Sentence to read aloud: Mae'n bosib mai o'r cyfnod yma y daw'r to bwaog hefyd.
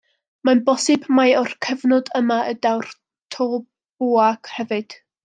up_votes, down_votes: 0, 2